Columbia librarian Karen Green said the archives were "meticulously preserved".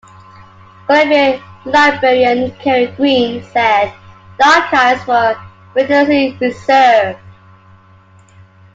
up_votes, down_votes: 1, 2